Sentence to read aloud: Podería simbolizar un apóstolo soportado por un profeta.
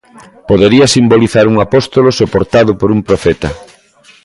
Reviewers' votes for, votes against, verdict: 2, 0, accepted